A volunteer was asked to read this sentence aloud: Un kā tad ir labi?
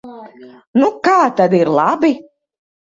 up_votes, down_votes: 1, 2